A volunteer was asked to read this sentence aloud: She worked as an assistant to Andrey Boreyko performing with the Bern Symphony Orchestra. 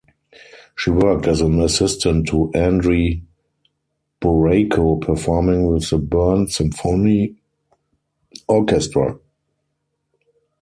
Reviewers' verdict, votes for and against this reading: rejected, 2, 4